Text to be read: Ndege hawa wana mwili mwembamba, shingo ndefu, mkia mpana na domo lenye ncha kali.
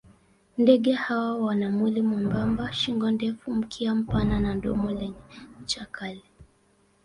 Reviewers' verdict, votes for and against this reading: accepted, 2, 0